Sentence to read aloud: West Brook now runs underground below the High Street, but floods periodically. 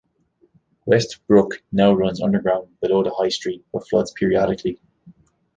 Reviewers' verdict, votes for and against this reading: accepted, 2, 0